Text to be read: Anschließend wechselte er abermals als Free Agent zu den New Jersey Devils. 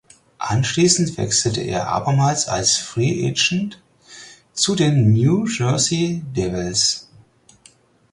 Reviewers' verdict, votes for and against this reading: accepted, 4, 0